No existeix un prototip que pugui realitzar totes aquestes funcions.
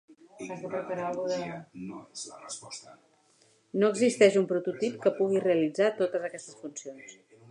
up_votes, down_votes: 0, 2